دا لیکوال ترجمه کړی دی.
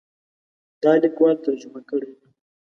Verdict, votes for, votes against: accepted, 2, 0